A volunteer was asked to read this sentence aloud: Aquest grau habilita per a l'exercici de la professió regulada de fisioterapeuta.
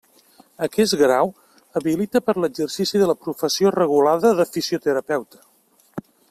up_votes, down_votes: 2, 0